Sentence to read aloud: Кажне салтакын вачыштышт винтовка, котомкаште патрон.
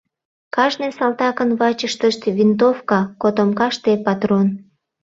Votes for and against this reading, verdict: 2, 0, accepted